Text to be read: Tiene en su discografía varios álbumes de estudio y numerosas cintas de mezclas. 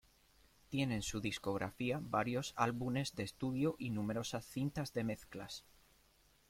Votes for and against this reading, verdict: 2, 1, accepted